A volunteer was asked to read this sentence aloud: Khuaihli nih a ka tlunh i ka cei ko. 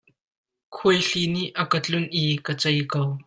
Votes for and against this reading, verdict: 2, 0, accepted